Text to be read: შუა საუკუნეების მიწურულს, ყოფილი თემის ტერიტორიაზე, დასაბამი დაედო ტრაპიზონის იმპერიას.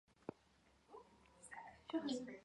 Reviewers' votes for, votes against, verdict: 2, 1, accepted